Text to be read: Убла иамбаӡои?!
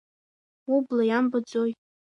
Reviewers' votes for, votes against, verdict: 3, 0, accepted